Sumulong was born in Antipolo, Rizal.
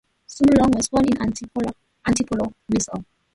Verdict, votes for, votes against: rejected, 0, 2